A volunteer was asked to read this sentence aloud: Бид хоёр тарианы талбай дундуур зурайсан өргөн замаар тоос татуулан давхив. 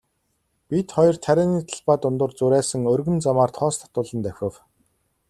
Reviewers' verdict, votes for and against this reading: accepted, 2, 0